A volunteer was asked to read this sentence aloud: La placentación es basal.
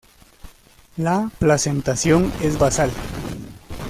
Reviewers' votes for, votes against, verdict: 1, 2, rejected